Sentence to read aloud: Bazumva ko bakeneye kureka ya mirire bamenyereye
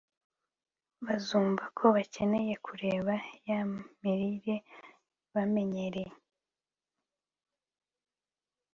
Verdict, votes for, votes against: accepted, 3, 0